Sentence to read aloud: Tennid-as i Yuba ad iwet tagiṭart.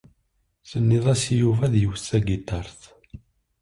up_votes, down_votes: 2, 1